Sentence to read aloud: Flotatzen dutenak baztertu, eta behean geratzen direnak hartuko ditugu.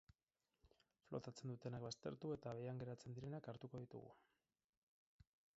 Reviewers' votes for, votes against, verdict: 6, 2, accepted